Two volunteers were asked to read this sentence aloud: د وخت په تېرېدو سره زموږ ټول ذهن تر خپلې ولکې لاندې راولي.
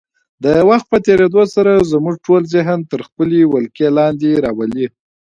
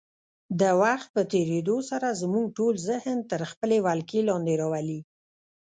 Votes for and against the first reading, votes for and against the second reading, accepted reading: 2, 1, 1, 2, first